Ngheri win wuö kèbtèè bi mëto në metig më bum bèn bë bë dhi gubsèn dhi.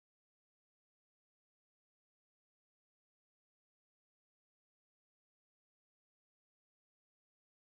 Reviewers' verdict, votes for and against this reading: rejected, 0, 2